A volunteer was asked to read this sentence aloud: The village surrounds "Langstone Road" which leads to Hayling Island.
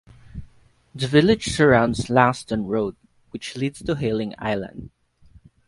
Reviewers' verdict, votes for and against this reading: accepted, 2, 0